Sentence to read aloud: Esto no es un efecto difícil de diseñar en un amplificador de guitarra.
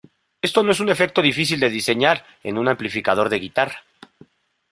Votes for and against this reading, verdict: 2, 1, accepted